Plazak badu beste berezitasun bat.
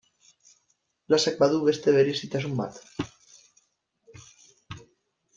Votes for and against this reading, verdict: 1, 2, rejected